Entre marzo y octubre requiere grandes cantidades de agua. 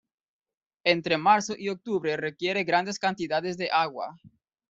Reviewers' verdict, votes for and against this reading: accepted, 2, 0